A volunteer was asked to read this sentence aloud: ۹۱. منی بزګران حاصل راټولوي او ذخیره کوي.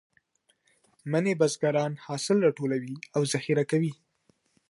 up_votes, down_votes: 0, 2